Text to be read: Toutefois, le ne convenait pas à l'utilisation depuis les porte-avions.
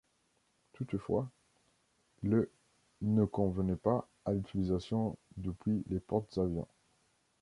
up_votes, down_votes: 0, 2